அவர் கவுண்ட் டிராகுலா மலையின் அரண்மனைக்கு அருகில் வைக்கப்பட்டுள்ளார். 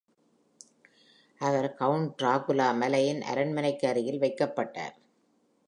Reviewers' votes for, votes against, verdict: 1, 2, rejected